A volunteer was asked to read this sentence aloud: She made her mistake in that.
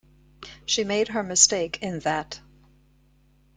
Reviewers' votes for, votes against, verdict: 2, 1, accepted